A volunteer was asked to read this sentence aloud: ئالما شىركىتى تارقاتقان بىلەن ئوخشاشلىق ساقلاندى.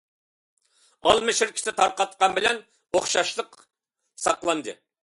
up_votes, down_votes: 2, 0